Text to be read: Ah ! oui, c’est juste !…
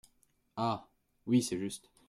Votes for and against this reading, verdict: 2, 0, accepted